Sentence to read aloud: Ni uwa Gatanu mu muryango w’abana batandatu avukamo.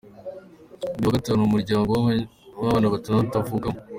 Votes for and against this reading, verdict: 0, 2, rejected